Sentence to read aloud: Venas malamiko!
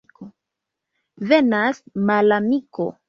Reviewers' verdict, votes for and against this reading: accepted, 2, 0